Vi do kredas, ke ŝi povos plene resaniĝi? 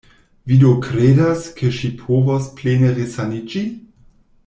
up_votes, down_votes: 2, 0